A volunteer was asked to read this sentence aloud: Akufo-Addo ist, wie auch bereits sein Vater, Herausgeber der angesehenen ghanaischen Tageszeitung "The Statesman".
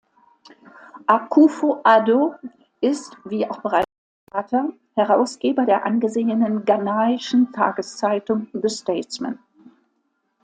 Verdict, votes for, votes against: rejected, 1, 2